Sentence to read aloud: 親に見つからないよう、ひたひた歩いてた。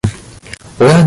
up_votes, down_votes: 0, 2